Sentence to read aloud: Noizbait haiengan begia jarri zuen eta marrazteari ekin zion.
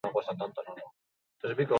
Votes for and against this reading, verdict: 2, 4, rejected